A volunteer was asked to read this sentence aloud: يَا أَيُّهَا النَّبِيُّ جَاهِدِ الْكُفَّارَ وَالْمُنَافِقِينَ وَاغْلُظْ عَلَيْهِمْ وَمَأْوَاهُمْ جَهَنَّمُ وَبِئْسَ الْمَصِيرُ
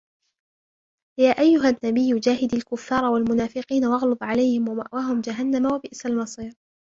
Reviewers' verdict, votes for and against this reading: rejected, 0, 2